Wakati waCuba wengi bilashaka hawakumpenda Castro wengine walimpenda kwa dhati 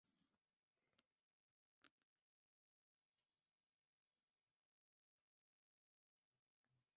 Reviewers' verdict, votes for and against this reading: rejected, 0, 2